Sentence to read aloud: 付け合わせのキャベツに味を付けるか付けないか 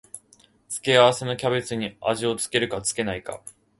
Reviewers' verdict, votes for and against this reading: accepted, 2, 0